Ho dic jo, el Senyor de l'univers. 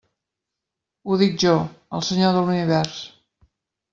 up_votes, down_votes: 0, 2